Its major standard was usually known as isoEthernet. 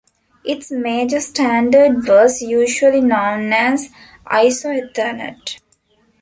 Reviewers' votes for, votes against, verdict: 2, 1, accepted